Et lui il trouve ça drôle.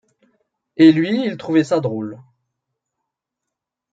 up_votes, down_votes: 1, 3